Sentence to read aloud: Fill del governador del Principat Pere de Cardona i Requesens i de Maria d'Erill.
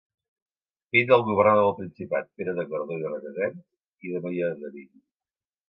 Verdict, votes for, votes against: rejected, 1, 2